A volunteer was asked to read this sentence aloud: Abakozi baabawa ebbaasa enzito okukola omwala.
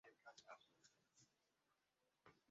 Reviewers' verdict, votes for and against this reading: rejected, 0, 2